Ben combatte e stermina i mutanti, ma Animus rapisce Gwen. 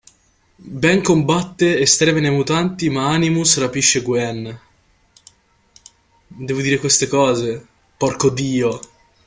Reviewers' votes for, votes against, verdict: 0, 2, rejected